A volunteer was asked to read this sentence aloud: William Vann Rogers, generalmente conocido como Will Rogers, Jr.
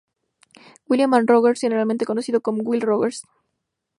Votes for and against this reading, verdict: 2, 0, accepted